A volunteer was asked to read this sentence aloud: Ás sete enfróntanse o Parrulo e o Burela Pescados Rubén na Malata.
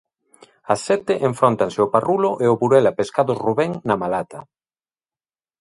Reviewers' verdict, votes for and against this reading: accepted, 2, 0